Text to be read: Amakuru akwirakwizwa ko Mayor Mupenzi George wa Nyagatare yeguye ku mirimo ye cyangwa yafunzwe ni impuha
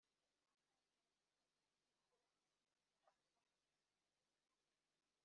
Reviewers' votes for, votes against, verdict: 0, 2, rejected